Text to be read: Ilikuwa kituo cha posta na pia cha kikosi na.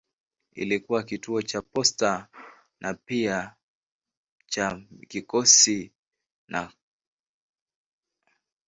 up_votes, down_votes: 5, 1